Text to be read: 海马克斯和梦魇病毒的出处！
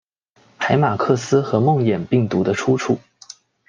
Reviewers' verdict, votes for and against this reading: accepted, 2, 0